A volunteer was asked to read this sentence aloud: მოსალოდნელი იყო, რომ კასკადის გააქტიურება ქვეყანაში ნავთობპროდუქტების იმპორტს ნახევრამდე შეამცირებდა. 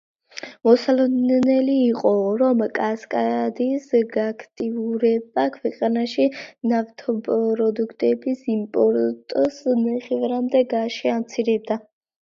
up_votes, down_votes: 1, 2